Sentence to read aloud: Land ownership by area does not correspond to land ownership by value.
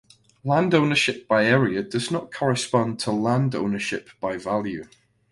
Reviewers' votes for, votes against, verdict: 2, 0, accepted